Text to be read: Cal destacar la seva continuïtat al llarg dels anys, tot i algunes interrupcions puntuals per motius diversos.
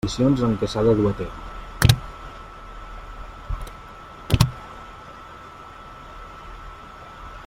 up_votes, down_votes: 0, 2